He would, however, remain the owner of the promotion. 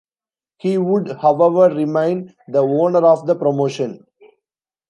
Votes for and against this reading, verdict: 2, 1, accepted